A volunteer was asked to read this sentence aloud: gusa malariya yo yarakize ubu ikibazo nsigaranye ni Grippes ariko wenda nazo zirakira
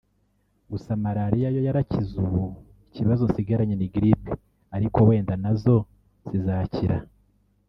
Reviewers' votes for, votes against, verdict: 1, 4, rejected